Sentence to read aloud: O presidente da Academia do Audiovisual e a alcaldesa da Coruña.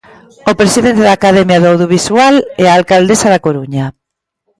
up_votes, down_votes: 2, 0